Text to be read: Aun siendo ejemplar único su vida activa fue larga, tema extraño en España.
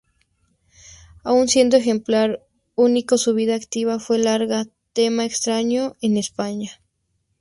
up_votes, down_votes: 4, 0